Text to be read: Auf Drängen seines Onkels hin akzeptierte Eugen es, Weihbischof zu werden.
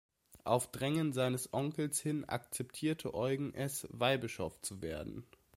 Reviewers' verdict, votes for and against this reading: accepted, 2, 0